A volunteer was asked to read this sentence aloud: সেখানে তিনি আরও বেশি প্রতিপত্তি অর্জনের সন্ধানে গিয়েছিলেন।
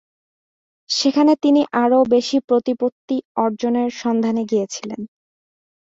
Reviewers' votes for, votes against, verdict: 2, 0, accepted